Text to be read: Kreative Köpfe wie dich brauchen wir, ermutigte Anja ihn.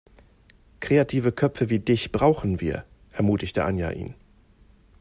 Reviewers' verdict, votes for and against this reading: accepted, 2, 0